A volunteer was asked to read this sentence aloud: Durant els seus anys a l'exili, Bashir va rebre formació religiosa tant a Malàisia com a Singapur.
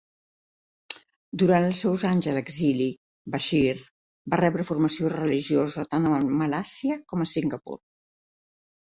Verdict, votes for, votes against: rejected, 1, 2